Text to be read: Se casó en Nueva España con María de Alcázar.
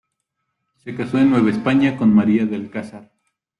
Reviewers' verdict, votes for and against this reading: accepted, 2, 1